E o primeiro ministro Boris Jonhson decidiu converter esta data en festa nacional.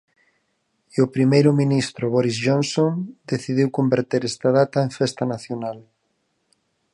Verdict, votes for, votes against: accepted, 4, 0